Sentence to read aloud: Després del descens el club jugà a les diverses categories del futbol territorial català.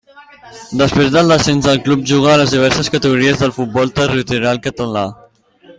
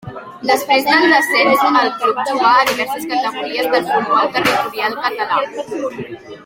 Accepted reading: first